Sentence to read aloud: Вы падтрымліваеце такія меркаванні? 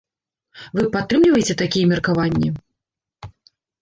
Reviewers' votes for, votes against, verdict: 2, 0, accepted